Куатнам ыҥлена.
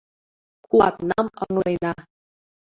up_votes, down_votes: 1, 2